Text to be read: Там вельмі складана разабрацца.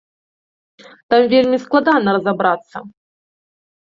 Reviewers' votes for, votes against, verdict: 2, 0, accepted